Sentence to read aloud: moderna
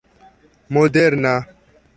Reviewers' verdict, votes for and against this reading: accepted, 3, 1